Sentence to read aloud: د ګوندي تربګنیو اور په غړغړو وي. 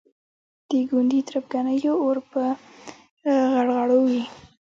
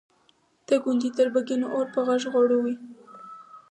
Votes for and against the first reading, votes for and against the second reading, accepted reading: 1, 2, 4, 2, second